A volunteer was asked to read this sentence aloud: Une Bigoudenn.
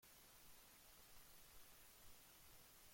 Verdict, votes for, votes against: rejected, 0, 2